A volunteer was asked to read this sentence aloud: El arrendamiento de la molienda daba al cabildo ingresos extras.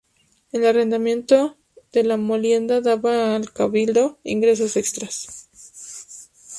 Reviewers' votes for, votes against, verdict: 0, 2, rejected